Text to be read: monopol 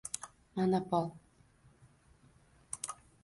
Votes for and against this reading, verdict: 0, 2, rejected